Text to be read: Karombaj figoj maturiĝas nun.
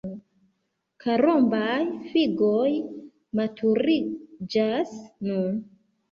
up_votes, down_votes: 2, 0